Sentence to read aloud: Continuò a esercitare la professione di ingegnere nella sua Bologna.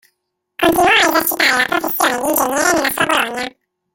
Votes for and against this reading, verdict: 0, 2, rejected